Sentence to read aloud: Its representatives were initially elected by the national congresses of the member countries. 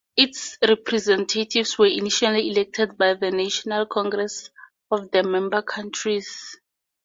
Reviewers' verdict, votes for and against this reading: accepted, 4, 0